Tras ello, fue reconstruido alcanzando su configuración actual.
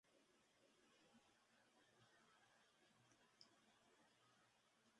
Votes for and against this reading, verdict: 0, 2, rejected